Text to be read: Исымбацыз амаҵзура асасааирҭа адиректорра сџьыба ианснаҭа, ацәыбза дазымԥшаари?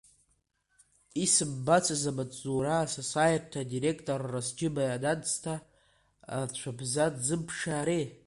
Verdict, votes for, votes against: rejected, 0, 2